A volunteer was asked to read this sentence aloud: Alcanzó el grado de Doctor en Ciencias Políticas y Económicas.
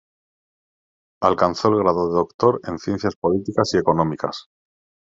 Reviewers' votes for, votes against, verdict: 2, 0, accepted